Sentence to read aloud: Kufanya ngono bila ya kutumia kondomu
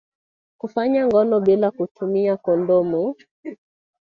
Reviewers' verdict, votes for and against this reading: accepted, 8, 0